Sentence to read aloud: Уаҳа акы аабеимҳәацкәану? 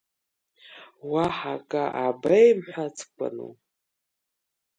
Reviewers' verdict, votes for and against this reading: accepted, 2, 0